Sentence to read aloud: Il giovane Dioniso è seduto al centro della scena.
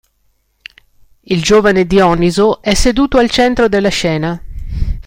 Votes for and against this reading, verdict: 2, 0, accepted